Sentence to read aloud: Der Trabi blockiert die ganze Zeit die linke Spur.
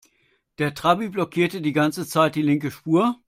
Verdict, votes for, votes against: rejected, 1, 2